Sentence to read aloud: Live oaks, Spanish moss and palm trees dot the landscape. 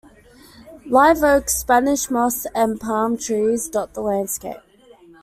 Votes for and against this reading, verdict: 2, 1, accepted